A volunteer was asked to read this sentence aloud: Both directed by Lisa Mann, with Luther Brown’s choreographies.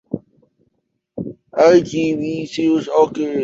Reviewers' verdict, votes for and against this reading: rejected, 0, 2